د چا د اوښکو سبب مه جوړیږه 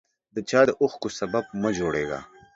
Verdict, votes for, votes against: accepted, 2, 0